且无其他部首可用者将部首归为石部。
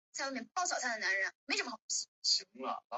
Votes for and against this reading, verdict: 1, 2, rejected